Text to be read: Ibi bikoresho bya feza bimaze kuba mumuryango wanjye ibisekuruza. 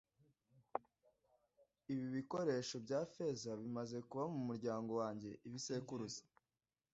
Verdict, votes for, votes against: accepted, 2, 0